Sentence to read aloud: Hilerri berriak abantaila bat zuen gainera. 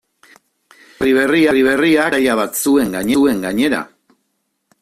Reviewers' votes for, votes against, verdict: 0, 2, rejected